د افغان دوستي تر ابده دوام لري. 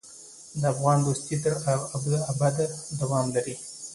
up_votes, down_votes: 2, 1